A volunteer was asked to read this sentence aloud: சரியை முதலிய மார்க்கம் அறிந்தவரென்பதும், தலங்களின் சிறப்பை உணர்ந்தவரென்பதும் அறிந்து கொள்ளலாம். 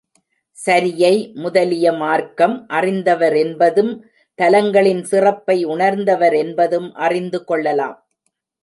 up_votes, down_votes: 2, 0